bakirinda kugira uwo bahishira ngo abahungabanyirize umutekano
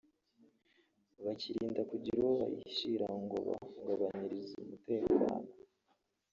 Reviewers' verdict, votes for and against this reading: rejected, 0, 2